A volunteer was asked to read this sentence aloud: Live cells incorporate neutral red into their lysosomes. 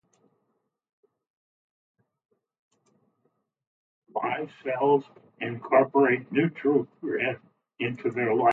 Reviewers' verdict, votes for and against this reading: rejected, 0, 2